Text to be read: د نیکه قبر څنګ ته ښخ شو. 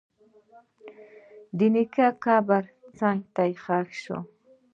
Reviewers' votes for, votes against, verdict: 2, 0, accepted